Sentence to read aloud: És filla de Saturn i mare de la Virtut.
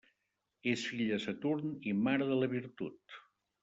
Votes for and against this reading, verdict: 0, 3, rejected